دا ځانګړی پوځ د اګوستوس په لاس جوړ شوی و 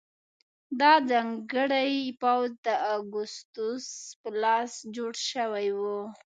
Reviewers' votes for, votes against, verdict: 2, 0, accepted